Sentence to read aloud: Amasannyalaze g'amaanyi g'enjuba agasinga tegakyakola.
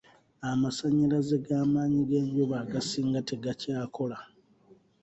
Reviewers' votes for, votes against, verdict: 2, 0, accepted